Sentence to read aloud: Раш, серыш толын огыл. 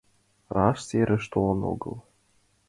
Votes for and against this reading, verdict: 2, 1, accepted